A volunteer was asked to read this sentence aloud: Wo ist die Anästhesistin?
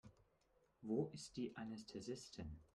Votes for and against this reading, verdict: 1, 2, rejected